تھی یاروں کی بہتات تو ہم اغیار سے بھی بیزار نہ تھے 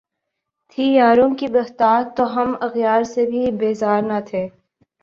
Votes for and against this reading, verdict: 6, 1, accepted